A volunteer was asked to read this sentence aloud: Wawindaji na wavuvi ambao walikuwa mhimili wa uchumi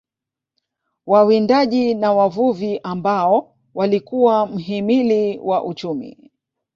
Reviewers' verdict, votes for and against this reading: rejected, 1, 2